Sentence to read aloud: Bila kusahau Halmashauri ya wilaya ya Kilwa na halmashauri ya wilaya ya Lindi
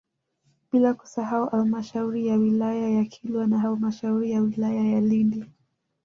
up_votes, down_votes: 1, 2